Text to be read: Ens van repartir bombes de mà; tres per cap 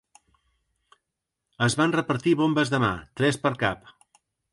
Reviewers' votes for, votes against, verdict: 1, 2, rejected